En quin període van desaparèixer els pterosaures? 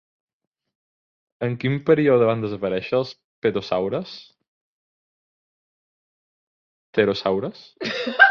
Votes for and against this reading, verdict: 1, 2, rejected